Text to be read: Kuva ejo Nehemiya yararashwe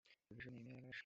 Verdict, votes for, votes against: rejected, 1, 2